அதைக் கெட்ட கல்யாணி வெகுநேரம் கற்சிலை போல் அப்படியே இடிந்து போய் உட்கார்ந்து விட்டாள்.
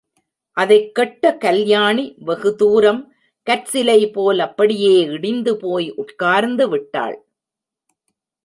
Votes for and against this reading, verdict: 0, 2, rejected